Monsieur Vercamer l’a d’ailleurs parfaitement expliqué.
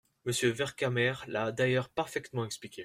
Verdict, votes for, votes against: accepted, 2, 0